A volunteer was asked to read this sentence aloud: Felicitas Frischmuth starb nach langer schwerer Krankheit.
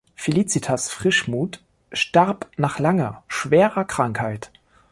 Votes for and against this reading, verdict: 2, 0, accepted